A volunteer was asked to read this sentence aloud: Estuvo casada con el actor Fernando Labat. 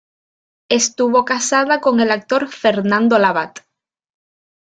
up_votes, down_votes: 2, 0